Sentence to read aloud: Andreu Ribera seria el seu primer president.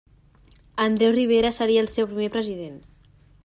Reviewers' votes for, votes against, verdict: 3, 1, accepted